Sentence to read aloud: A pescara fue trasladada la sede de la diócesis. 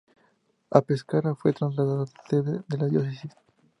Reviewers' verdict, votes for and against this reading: rejected, 2, 4